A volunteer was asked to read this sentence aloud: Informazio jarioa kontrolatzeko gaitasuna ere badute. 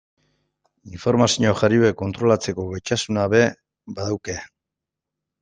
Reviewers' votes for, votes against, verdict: 1, 2, rejected